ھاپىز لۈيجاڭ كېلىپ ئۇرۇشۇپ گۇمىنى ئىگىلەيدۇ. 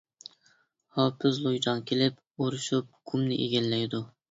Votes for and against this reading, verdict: 0, 2, rejected